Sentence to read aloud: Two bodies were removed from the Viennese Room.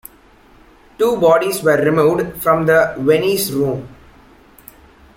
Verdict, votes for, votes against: accepted, 2, 1